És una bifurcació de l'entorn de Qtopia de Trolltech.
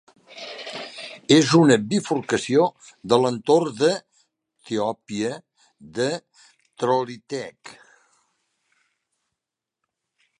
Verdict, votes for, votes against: rejected, 1, 3